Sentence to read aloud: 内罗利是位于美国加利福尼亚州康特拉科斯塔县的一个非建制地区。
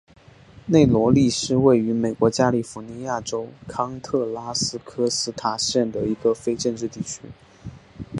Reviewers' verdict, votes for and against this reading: accepted, 2, 1